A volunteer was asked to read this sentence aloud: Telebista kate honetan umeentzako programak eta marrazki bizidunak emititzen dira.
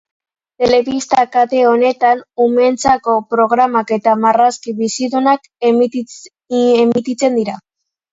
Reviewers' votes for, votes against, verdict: 1, 2, rejected